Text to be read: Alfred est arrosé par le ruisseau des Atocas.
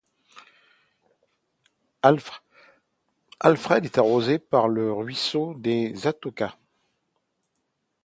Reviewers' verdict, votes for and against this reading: rejected, 0, 2